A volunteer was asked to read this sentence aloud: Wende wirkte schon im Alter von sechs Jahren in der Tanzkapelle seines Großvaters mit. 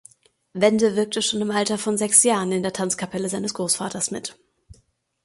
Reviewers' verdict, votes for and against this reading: accepted, 2, 0